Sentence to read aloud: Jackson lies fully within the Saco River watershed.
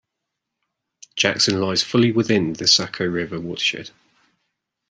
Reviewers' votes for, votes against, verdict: 2, 0, accepted